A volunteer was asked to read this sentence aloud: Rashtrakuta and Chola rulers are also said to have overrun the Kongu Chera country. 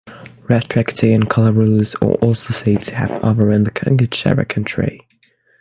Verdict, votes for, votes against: rejected, 0, 6